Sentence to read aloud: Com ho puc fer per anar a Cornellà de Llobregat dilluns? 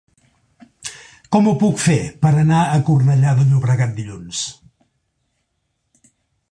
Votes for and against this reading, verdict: 2, 0, accepted